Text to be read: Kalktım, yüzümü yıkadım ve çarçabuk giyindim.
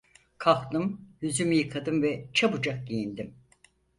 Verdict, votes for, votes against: rejected, 2, 4